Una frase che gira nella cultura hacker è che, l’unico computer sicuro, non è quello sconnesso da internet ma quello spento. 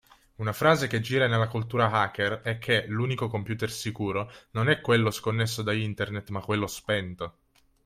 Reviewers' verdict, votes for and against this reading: accepted, 2, 0